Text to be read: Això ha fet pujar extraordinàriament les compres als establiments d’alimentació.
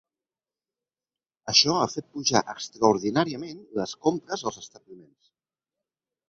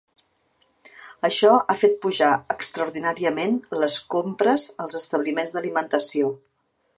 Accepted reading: second